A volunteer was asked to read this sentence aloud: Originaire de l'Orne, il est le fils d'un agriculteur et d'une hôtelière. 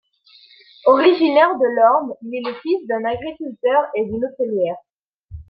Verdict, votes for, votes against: accepted, 2, 0